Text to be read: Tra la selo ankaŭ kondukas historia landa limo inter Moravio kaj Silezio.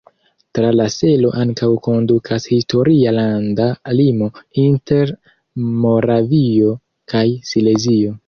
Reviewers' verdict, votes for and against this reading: accepted, 2, 0